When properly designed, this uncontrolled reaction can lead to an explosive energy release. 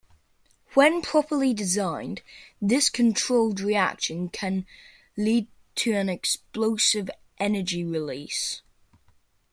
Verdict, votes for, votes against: rejected, 0, 2